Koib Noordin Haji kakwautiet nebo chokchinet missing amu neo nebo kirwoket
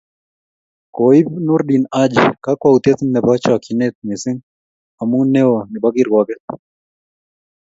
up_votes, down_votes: 2, 0